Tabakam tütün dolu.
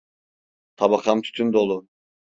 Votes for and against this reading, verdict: 2, 0, accepted